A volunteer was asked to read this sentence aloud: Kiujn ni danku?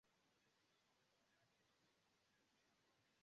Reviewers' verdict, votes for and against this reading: rejected, 0, 2